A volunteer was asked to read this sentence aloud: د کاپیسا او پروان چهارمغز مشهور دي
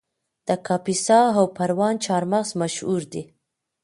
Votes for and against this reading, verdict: 1, 2, rejected